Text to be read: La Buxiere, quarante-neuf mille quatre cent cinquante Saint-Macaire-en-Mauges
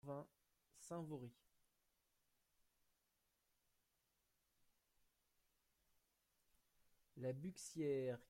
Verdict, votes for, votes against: rejected, 0, 2